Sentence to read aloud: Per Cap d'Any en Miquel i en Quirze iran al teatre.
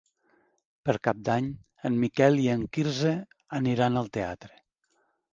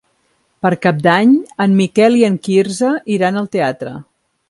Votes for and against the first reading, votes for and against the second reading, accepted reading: 0, 2, 3, 0, second